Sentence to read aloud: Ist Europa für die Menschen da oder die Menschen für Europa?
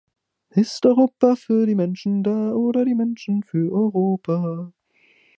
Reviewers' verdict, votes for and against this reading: rejected, 0, 2